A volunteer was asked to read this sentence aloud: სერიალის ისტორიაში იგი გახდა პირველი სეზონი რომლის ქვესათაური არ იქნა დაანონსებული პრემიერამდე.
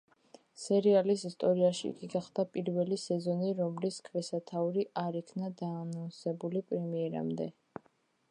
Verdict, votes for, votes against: accepted, 2, 1